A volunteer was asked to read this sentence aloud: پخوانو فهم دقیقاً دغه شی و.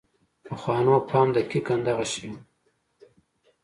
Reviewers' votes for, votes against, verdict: 2, 0, accepted